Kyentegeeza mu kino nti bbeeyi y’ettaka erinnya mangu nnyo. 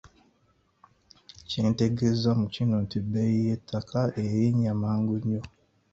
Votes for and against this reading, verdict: 3, 0, accepted